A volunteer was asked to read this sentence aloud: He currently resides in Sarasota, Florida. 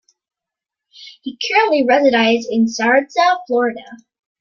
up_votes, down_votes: 0, 2